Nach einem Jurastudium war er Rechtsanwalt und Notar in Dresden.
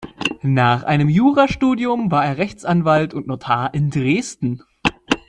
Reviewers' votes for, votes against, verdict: 2, 0, accepted